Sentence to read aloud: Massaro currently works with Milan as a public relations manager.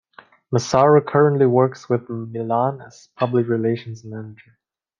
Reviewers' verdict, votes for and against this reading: rejected, 1, 2